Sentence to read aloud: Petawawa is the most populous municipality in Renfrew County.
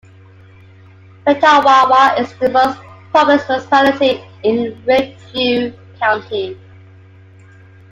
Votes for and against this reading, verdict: 0, 2, rejected